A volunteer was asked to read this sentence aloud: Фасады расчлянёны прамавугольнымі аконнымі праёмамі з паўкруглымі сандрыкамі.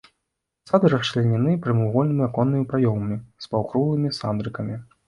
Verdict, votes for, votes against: rejected, 0, 2